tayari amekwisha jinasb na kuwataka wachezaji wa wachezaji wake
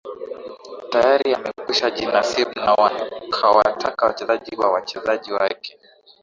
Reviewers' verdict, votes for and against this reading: accepted, 2, 1